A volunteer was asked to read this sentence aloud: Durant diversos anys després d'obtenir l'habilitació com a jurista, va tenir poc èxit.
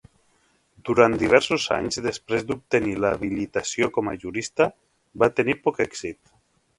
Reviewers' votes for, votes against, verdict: 1, 2, rejected